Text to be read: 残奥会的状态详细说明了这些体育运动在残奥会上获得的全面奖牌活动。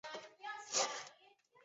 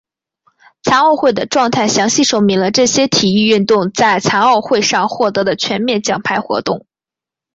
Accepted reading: second